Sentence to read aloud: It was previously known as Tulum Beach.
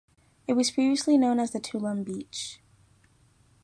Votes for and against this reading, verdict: 0, 2, rejected